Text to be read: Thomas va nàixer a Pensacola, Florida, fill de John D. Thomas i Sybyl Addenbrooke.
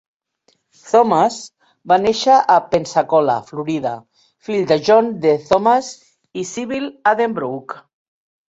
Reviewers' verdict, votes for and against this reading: rejected, 0, 2